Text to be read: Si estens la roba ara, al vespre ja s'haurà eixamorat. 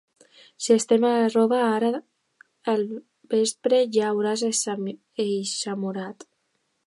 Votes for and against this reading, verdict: 0, 2, rejected